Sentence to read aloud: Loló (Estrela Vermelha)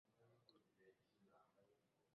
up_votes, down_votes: 0, 2